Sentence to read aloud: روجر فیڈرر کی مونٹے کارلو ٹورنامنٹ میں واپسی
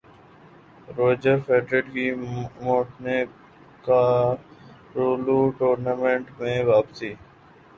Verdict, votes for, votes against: rejected, 1, 2